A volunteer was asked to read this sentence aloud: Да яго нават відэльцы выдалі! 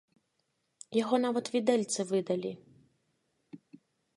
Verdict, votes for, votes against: rejected, 0, 2